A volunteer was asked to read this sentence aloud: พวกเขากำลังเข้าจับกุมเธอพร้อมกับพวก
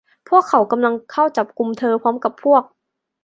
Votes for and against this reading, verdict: 2, 0, accepted